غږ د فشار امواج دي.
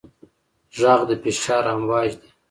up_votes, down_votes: 2, 0